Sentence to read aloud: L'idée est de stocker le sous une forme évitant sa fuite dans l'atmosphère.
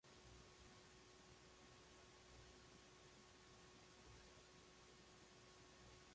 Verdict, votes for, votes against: rejected, 0, 2